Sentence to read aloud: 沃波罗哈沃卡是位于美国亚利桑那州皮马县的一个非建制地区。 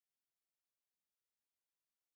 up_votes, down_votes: 0, 2